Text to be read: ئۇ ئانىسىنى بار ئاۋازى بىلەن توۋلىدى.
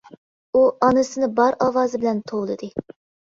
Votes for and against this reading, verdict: 2, 0, accepted